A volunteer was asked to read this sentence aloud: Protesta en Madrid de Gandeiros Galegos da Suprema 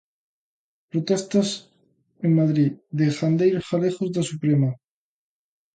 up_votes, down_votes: 0, 2